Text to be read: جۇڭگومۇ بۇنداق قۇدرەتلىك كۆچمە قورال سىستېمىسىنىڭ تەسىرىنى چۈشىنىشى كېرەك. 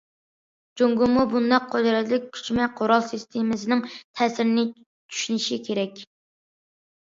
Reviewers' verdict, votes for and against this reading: accepted, 2, 0